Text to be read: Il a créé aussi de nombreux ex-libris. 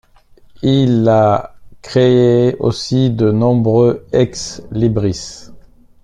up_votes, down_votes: 2, 0